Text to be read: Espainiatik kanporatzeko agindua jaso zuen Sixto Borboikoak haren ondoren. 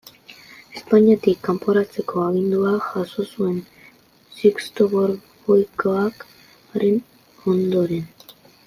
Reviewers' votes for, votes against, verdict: 2, 1, accepted